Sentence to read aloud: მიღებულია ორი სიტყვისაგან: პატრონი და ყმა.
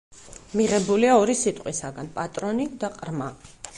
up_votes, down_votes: 0, 4